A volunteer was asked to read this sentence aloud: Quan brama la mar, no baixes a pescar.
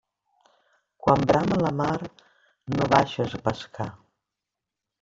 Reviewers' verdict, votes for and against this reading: rejected, 0, 2